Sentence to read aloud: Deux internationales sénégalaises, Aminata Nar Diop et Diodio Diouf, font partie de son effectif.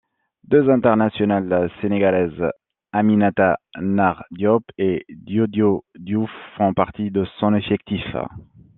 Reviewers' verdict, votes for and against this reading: accepted, 2, 0